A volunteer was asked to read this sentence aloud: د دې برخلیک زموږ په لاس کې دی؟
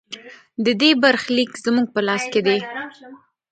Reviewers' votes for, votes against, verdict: 1, 2, rejected